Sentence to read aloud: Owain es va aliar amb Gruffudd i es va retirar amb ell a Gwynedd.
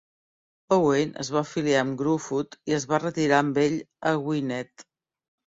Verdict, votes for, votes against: accepted, 2, 1